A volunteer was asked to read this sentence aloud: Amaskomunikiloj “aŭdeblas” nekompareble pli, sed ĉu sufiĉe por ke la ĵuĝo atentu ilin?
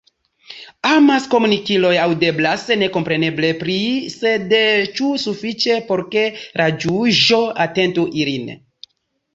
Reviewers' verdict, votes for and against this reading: accepted, 2, 0